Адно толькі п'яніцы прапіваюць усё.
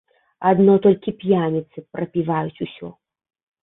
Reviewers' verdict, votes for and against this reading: accepted, 2, 0